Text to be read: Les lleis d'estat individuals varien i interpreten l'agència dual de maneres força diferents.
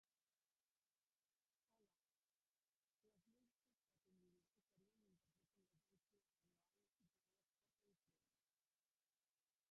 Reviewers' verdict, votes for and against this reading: rejected, 0, 4